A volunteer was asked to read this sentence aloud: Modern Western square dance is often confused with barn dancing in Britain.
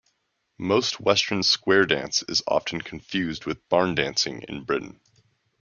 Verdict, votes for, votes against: rejected, 0, 2